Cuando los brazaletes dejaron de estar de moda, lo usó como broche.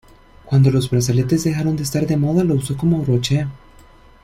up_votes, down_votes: 0, 2